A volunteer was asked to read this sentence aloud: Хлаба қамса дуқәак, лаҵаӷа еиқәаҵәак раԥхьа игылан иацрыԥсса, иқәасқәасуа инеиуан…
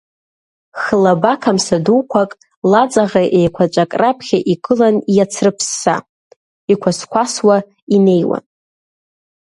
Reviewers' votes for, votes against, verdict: 2, 0, accepted